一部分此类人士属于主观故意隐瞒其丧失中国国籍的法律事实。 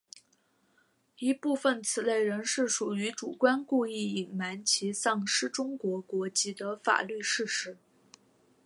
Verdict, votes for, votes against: accepted, 2, 0